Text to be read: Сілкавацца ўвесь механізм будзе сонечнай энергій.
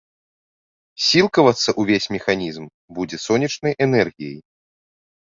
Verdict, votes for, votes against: rejected, 0, 2